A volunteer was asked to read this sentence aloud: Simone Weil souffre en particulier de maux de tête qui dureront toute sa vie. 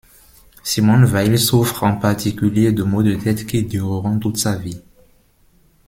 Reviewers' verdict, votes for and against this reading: accepted, 2, 0